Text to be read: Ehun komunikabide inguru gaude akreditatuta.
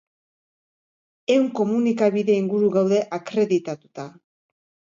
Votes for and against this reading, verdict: 2, 0, accepted